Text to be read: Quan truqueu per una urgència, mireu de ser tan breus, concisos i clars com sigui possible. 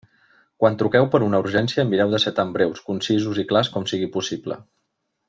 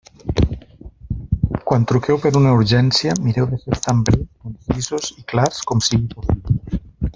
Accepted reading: first